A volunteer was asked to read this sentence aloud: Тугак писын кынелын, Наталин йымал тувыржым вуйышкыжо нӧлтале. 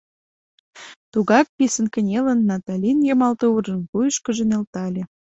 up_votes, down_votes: 2, 0